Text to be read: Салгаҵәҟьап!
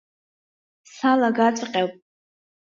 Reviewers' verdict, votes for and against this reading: rejected, 0, 2